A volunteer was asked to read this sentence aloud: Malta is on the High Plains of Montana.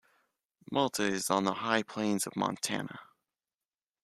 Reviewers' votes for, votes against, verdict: 2, 0, accepted